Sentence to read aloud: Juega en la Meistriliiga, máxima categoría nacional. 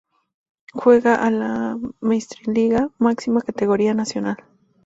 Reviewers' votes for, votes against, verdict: 0, 2, rejected